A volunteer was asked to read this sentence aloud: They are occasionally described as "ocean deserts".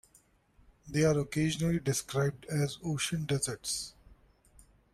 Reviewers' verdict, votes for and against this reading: accepted, 2, 0